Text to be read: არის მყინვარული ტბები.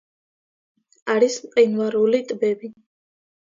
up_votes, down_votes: 2, 0